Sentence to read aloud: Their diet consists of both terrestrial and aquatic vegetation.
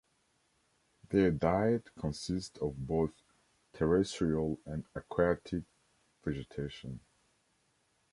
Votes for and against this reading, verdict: 0, 2, rejected